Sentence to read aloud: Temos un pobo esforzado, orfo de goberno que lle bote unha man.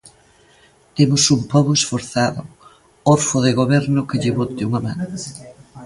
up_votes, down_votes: 0, 2